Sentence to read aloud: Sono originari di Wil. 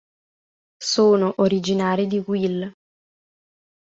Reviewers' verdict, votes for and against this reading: accepted, 2, 0